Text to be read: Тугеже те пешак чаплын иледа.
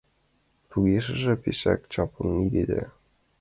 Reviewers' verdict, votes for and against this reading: rejected, 0, 2